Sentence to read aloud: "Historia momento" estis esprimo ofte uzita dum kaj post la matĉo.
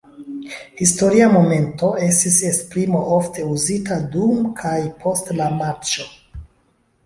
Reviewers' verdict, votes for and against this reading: rejected, 1, 2